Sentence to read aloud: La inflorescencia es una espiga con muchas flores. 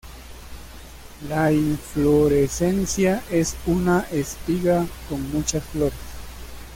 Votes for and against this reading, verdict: 1, 2, rejected